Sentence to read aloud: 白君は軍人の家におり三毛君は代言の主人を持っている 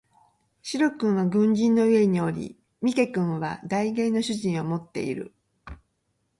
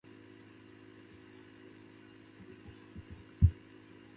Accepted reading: first